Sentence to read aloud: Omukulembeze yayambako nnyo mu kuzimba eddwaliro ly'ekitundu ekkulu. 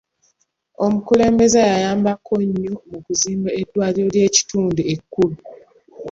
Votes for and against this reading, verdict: 2, 0, accepted